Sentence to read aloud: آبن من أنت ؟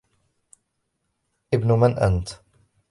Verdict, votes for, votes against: rejected, 0, 2